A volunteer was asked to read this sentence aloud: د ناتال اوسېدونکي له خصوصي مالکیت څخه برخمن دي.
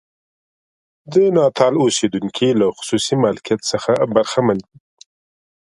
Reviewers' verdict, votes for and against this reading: accepted, 2, 0